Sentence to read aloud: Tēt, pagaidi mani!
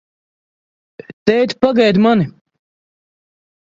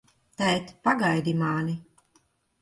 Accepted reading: first